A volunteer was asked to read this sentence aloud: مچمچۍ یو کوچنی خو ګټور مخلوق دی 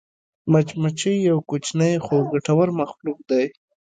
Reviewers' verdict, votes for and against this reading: rejected, 1, 2